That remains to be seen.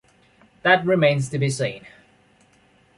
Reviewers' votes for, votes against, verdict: 2, 0, accepted